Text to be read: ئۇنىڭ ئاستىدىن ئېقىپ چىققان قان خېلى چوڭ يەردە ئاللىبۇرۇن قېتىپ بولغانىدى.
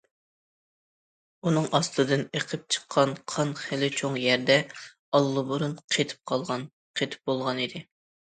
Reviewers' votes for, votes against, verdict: 0, 2, rejected